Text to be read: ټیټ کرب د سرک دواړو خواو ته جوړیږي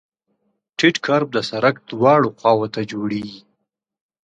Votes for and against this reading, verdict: 2, 0, accepted